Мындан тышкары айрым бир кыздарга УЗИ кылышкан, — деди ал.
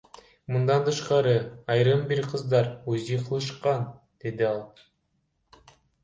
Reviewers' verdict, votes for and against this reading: rejected, 1, 2